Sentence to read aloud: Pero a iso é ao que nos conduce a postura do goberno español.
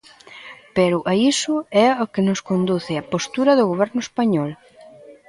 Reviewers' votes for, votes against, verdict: 2, 0, accepted